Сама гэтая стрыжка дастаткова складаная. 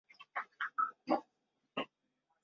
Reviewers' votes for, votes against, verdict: 0, 2, rejected